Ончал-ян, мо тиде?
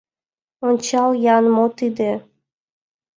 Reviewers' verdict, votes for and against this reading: accepted, 3, 0